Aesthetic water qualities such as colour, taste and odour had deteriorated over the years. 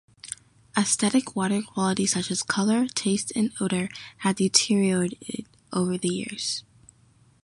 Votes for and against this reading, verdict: 0, 2, rejected